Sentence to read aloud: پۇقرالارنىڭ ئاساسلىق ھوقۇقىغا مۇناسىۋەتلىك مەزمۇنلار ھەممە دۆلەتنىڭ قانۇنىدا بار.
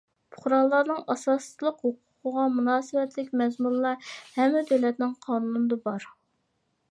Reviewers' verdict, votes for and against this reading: accepted, 2, 0